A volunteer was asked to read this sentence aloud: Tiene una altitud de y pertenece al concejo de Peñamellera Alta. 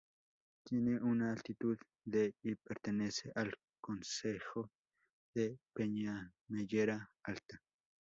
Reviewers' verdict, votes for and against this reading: rejected, 0, 2